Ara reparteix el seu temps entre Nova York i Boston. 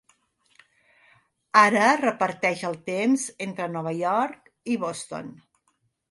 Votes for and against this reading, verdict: 1, 2, rejected